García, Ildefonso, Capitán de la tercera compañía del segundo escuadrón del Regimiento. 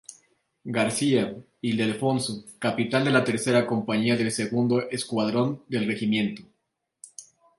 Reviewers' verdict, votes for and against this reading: rejected, 0, 2